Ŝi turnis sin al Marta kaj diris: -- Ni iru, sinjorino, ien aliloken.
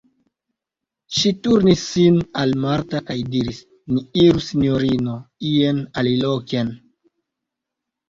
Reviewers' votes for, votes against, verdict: 1, 2, rejected